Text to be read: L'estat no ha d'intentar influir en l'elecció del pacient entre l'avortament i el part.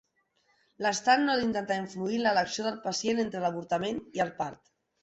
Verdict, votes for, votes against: accepted, 2, 1